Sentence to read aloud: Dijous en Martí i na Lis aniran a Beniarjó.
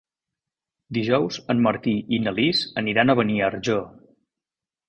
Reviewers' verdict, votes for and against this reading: accepted, 2, 1